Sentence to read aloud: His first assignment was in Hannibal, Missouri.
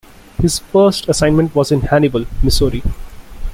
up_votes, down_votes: 2, 1